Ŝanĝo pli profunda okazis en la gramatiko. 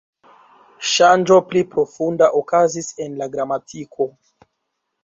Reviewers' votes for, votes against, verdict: 2, 1, accepted